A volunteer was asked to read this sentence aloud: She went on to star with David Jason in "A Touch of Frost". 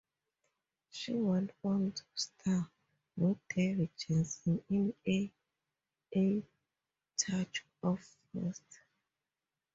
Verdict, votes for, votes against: rejected, 0, 2